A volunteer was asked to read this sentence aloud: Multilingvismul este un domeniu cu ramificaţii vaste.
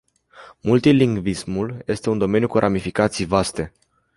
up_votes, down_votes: 2, 0